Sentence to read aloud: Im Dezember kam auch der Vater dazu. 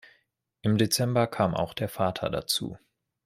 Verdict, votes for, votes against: accepted, 2, 1